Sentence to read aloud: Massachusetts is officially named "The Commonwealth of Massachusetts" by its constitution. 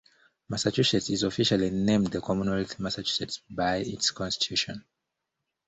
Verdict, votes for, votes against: accepted, 2, 0